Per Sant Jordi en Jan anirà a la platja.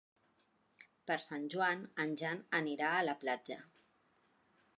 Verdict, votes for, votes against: rejected, 1, 2